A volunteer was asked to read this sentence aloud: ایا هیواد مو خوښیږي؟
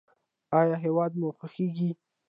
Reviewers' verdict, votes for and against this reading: rejected, 0, 2